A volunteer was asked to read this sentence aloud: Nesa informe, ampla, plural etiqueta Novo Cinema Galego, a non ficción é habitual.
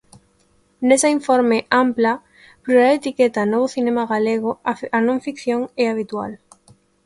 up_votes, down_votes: 0, 2